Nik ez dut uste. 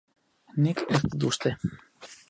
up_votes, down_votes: 2, 4